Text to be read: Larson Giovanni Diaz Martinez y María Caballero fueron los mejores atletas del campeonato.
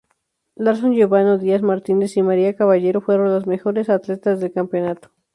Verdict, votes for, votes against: rejected, 0, 2